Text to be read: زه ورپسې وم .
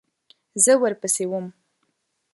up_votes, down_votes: 2, 0